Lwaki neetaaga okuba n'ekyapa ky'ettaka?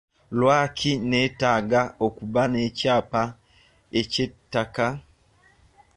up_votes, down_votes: 1, 2